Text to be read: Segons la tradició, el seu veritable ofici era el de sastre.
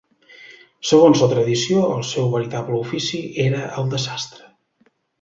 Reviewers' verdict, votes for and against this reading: accepted, 3, 0